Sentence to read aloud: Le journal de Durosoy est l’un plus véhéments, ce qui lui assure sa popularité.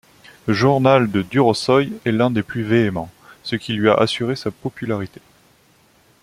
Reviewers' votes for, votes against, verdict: 0, 2, rejected